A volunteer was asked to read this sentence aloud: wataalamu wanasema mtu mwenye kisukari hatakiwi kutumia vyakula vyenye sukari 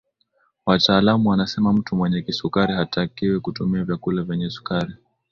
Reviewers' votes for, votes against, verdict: 2, 0, accepted